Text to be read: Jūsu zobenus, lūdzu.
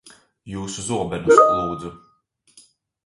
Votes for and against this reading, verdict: 0, 2, rejected